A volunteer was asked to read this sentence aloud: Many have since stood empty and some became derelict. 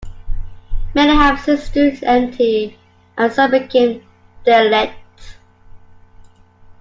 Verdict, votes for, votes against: accepted, 2, 1